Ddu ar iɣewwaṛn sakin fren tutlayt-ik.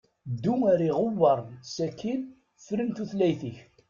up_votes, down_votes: 0, 2